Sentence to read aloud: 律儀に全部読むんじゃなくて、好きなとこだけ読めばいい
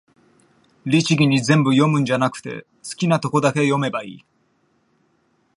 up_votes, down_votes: 2, 0